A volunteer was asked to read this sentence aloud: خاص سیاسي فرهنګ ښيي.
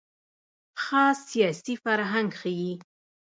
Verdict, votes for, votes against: rejected, 1, 2